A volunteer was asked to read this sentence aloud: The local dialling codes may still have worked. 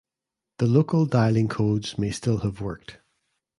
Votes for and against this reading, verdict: 2, 0, accepted